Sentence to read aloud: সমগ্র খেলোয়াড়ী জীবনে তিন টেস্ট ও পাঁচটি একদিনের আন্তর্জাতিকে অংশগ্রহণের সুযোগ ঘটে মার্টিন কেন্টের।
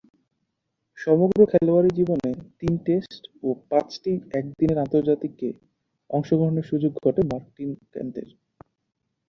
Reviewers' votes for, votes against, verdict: 2, 2, rejected